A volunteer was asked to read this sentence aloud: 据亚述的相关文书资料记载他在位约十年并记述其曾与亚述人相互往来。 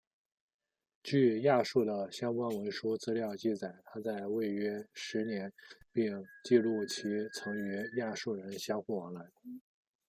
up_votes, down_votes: 0, 2